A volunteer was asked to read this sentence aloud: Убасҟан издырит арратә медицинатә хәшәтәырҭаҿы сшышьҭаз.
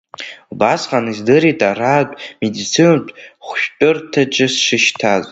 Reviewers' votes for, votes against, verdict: 0, 2, rejected